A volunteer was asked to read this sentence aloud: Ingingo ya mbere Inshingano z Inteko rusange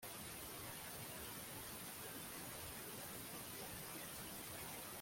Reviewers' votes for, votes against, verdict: 0, 2, rejected